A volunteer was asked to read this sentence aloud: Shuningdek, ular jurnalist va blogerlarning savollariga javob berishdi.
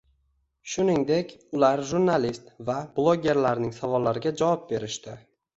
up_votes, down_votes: 2, 0